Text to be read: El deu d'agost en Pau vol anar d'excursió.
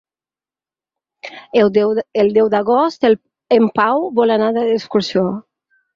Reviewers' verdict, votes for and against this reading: rejected, 0, 4